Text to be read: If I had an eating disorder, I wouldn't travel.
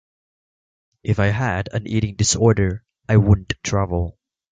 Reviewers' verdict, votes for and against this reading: accepted, 2, 1